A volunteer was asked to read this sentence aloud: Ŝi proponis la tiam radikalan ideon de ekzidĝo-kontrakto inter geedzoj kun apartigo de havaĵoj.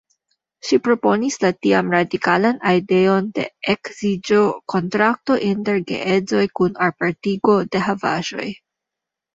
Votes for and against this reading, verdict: 2, 1, accepted